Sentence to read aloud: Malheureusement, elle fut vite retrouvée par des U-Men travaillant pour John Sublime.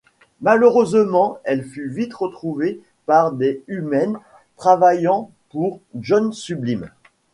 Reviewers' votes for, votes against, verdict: 2, 0, accepted